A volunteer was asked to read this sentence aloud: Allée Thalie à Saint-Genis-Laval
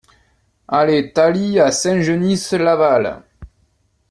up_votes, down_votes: 2, 0